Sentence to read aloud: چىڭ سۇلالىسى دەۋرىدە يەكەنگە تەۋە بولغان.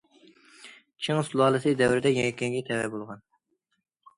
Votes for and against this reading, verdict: 2, 0, accepted